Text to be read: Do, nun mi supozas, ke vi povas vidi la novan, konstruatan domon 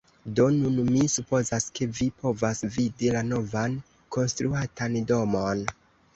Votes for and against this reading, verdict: 2, 0, accepted